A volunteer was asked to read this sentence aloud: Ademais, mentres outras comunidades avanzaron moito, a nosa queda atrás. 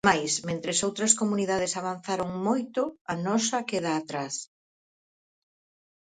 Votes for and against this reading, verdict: 0, 4, rejected